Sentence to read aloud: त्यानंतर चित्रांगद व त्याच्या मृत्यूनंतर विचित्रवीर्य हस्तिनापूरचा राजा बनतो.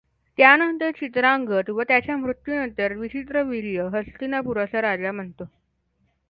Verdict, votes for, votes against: accepted, 2, 1